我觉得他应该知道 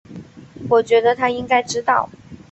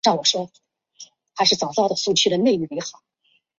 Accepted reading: first